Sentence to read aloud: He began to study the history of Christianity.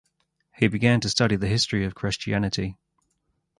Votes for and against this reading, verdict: 2, 2, rejected